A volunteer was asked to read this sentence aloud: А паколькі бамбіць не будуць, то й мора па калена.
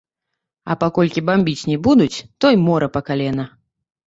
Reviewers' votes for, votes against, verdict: 0, 2, rejected